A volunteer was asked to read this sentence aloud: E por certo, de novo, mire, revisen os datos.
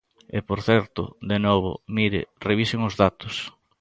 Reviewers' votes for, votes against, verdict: 2, 0, accepted